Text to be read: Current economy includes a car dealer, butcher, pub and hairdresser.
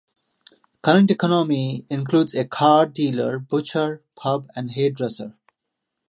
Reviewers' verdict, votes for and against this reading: accepted, 2, 0